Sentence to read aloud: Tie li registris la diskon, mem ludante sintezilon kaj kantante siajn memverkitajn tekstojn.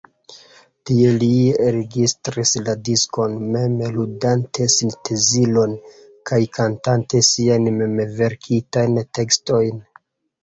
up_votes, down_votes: 2, 0